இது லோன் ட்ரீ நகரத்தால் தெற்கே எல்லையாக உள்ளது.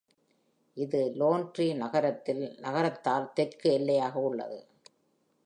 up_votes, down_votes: 0, 2